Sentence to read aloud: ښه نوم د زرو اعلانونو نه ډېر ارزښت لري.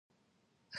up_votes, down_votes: 0, 2